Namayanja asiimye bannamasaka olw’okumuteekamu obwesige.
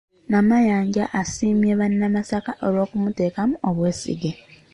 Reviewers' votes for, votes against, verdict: 2, 0, accepted